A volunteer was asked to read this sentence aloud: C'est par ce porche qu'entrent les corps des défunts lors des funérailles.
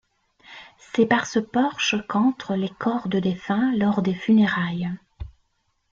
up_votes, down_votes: 1, 3